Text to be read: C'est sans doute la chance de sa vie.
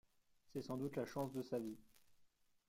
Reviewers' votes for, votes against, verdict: 2, 0, accepted